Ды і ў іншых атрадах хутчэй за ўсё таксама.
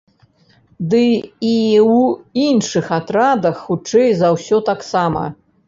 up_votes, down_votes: 0, 2